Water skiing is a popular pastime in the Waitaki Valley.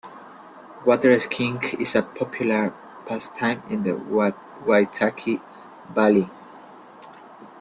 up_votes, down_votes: 0, 2